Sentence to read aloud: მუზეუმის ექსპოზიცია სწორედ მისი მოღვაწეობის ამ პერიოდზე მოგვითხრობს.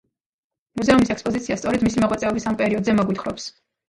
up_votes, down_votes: 1, 2